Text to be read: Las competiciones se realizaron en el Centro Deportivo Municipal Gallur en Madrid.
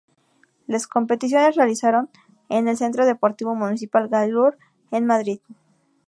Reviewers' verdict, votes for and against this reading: rejected, 2, 2